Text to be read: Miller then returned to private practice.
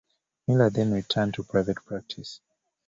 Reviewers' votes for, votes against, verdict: 1, 2, rejected